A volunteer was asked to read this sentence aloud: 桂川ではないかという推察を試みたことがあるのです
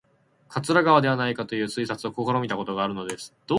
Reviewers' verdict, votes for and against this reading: rejected, 4, 4